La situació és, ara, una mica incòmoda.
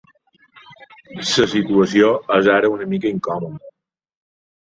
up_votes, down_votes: 2, 3